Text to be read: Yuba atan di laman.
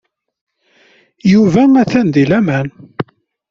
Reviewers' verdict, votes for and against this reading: accepted, 2, 0